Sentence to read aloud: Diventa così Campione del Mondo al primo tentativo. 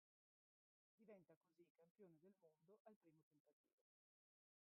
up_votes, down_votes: 0, 2